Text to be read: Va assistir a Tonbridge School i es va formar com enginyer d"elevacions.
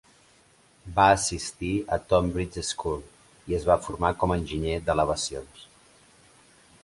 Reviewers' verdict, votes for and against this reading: accepted, 2, 0